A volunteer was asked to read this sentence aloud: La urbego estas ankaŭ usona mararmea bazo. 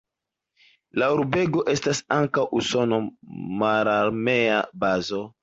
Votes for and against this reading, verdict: 0, 2, rejected